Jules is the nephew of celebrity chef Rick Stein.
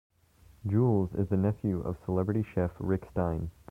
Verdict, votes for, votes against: accepted, 2, 0